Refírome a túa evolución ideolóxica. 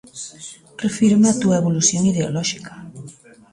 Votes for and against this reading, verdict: 1, 2, rejected